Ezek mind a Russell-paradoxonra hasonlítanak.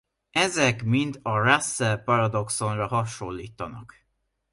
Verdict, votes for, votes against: accepted, 2, 0